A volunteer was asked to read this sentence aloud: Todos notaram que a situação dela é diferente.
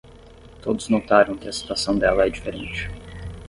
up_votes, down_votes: 3, 0